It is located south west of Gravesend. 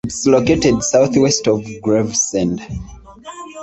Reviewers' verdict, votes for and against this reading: rejected, 1, 2